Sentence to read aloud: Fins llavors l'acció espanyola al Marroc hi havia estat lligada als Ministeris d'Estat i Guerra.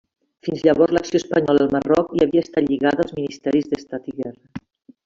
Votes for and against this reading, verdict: 2, 1, accepted